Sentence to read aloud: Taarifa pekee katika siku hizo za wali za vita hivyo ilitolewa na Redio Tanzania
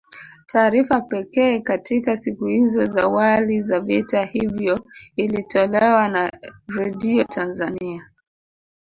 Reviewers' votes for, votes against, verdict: 2, 0, accepted